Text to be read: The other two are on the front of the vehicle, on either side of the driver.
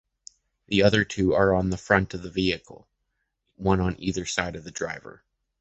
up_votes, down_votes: 0, 2